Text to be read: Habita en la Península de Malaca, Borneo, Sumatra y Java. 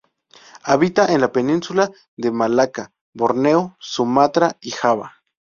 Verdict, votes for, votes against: accepted, 2, 0